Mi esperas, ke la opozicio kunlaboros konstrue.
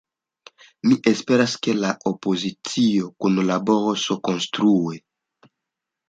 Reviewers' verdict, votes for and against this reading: accepted, 2, 0